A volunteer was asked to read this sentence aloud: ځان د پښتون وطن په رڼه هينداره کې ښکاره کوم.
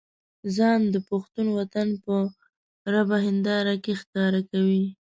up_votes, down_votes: 0, 2